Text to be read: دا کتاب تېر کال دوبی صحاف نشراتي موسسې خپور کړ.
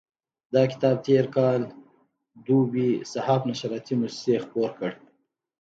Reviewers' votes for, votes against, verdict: 1, 2, rejected